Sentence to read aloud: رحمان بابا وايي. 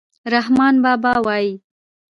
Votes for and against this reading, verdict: 2, 0, accepted